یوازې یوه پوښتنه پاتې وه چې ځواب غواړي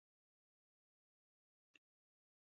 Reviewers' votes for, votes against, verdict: 0, 2, rejected